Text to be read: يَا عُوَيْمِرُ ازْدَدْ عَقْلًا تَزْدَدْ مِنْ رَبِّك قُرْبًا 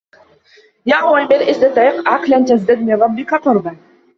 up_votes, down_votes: 0, 2